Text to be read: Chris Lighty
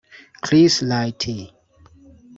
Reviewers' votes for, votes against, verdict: 1, 2, rejected